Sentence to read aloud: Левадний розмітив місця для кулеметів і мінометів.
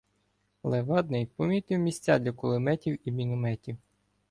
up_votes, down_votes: 1, 2